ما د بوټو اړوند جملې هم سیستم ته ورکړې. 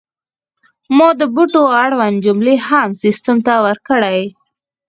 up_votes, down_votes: 2, 4